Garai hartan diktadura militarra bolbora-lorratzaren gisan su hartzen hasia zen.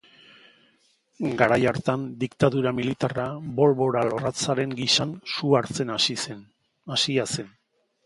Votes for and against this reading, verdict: 0, 3, rejected